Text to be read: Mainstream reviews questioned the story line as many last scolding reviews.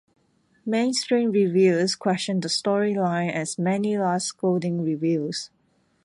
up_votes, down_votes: 2, 0